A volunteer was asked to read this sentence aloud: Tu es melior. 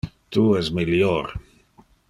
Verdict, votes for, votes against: accepted, 2, 0